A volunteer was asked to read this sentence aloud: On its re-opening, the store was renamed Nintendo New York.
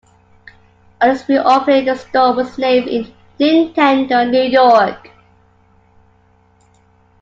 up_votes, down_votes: 0, 2